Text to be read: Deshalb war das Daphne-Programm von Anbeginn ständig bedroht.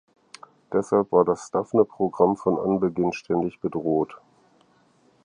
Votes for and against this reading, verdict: 4, 0, accepted